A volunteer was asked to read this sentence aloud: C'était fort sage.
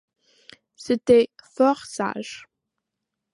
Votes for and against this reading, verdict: 2, 0, accepted